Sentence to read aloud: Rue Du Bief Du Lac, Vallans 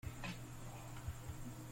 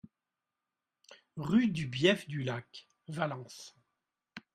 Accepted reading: second